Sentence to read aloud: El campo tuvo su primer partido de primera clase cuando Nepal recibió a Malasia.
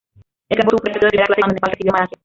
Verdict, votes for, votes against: rejected, 0, 2